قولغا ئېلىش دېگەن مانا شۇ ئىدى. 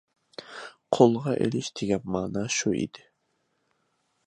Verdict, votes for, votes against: accepted, 2, 1